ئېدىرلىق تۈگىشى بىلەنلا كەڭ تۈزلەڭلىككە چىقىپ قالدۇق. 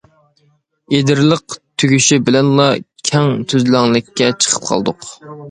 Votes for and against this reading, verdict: 2, 0, accepted